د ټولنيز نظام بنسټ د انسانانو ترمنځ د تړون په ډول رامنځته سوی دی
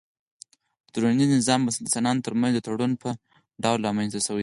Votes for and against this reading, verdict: 4, 0, accepted